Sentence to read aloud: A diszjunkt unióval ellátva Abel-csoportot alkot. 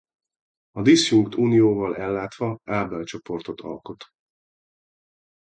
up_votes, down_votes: 2, 0